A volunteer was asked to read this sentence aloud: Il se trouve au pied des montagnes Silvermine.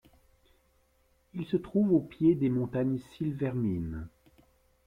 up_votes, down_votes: 2, 0